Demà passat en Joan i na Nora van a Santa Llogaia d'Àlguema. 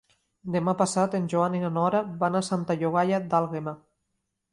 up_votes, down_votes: 2, 0